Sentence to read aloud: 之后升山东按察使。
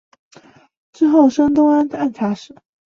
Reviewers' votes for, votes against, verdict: 1, 2, rejected